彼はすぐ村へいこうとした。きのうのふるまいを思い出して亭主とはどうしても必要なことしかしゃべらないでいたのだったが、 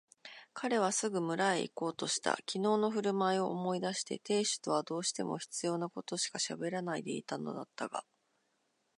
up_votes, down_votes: 2, 0